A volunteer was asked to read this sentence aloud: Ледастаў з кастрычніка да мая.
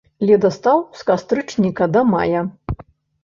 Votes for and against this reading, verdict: 1, 2, rejected